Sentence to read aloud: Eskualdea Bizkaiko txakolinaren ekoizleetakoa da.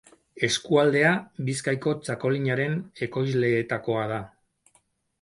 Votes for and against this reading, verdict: 4, 0, accepted